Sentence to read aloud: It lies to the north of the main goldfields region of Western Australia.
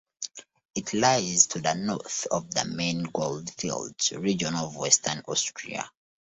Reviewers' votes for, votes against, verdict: 0, 2, rejected